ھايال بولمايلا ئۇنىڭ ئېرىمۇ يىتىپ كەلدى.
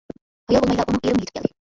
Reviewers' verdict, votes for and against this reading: rejected, 0, 2